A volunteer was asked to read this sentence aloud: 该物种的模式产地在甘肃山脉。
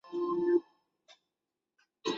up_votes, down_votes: 1, 2